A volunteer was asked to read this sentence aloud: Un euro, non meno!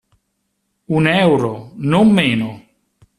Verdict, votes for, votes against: accepted, 2, 0